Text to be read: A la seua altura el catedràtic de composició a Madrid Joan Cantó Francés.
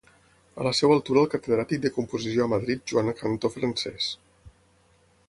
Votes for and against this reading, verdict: 6, 3, accepted